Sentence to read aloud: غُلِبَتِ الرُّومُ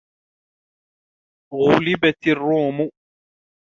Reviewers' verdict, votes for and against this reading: accepted, 2, 0